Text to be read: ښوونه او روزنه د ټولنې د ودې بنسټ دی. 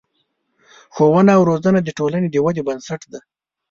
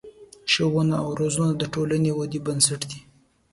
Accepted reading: second